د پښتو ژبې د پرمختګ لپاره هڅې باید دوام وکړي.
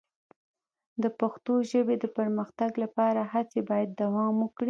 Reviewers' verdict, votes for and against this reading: rejected, 0, 2